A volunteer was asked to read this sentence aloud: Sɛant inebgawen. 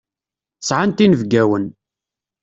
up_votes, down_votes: 2, 0